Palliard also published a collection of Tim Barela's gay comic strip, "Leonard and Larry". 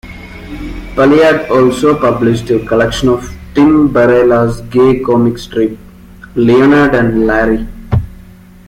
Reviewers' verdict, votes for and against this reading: rejected, 1, 2